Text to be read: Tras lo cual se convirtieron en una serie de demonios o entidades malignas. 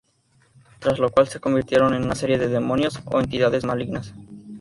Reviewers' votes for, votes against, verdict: 2, 0, accepted